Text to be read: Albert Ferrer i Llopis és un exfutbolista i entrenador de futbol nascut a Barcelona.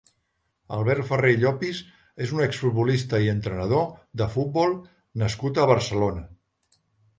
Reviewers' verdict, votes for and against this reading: rejected, 1, 2